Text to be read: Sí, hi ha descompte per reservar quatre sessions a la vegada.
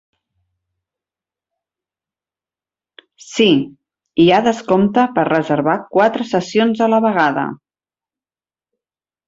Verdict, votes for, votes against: accepted, 4, 0